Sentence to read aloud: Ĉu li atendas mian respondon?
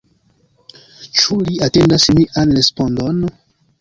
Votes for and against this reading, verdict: 1, 2, rejected